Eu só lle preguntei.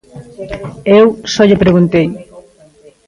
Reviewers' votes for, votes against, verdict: 1, 2, rejected